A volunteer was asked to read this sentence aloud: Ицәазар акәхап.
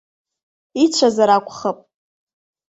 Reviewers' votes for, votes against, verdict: 2, 0, accepted